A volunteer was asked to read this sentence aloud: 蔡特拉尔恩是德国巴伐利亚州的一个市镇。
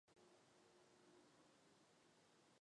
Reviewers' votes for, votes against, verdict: 0, 3, rejected